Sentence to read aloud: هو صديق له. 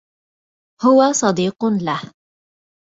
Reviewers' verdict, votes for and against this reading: accepted, 2, 1